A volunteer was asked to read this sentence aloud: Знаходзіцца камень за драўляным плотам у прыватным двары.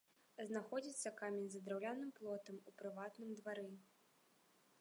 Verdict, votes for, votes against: rejected, 1, 2